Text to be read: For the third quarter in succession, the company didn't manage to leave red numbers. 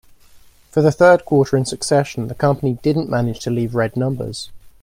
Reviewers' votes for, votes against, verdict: 2, 0, accepted